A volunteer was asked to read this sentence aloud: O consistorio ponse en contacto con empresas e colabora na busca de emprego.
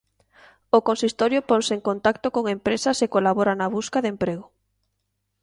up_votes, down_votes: 2, 0